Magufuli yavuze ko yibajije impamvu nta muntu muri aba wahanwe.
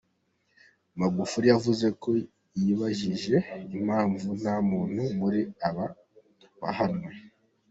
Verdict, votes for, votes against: accepted, 2, 1